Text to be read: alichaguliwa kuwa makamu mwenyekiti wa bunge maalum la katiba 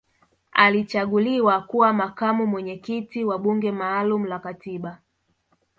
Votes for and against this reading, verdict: 1, 2, rejected